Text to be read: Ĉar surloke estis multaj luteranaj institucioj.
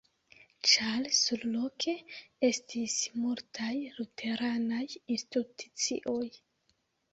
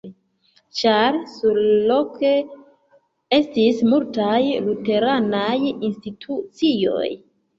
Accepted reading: second